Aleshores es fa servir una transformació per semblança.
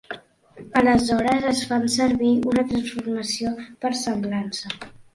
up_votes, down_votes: 1, 3